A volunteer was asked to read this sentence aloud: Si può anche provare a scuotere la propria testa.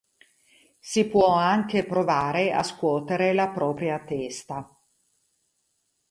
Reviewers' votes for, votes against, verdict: 2, 0, accepted